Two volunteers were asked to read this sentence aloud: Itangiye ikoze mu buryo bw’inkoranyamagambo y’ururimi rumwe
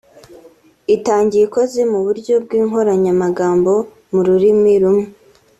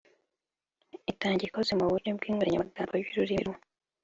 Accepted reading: first